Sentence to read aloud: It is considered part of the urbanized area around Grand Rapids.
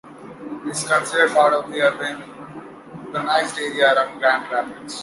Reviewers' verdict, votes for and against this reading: rejected, 0, 2